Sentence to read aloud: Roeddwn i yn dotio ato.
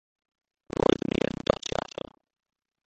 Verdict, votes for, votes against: rejected, 0, 2